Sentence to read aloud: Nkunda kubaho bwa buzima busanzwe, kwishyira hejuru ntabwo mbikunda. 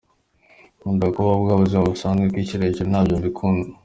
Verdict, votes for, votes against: accepted, 2, 0